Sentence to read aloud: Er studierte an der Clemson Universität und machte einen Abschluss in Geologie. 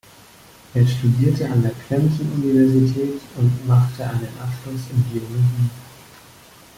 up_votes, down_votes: 1, 2